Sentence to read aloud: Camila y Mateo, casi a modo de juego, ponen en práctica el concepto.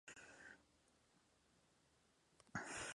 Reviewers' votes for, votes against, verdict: 0, 2, rejected